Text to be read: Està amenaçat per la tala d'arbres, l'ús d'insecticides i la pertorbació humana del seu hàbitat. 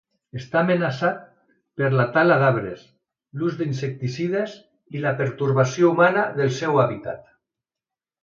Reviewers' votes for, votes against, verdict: 2, 0, accepted